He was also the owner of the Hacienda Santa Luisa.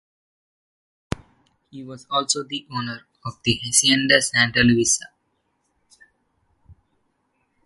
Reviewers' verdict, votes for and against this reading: rejected, 1, 2